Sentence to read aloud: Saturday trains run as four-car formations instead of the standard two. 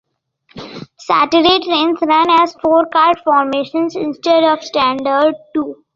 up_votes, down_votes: 1, 2